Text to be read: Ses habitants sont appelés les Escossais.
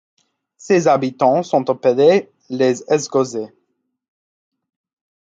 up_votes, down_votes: 1, 2